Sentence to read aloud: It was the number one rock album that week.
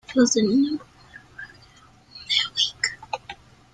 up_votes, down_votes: 0, 2